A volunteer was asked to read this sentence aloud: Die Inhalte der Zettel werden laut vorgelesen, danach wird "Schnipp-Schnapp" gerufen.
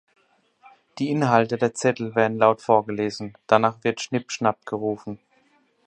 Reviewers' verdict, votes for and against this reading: accepted, 4, 0